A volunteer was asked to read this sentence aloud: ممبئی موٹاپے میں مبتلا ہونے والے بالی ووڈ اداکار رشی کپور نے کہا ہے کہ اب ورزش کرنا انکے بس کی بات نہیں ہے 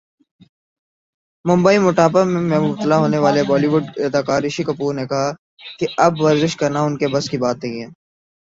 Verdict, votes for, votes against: rejected, 2, 3